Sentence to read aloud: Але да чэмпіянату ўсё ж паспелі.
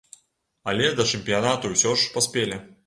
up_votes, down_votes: 0, 2